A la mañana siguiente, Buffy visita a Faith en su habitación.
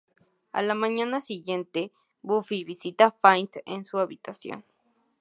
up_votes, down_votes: 2, 0